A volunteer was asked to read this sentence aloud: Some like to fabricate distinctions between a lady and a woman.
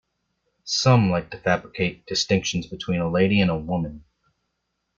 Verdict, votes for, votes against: accepted, 2, 0